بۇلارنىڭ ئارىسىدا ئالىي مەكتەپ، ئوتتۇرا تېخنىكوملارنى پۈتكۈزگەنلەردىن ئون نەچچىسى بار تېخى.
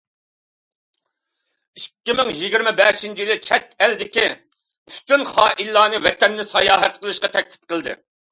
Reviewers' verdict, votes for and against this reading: rejected, 0, 2